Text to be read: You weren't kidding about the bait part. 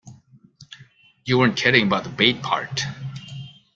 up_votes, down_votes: 2, 0